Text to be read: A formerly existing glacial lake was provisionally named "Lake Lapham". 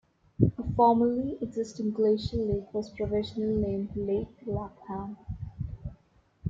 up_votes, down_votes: 2, 0